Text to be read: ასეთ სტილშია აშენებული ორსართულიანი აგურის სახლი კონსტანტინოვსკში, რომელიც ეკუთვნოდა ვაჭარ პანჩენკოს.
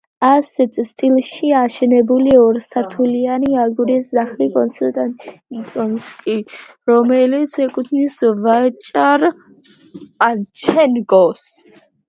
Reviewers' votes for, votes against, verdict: 0, 2, rejected